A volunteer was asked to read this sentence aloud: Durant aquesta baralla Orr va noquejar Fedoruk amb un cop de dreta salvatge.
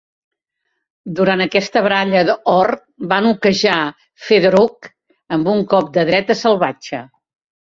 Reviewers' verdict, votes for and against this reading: accepted, 2, 1